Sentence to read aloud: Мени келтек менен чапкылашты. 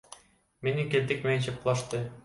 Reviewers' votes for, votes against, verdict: 2, 0, accepted